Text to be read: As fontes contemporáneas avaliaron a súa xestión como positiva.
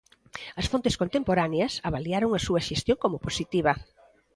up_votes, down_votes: 0, 2